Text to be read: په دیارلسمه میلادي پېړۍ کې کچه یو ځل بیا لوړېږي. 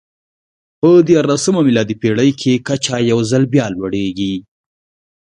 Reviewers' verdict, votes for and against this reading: accepted, 2, 0